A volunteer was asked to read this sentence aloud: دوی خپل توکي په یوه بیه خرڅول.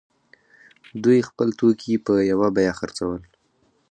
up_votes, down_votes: 4, 0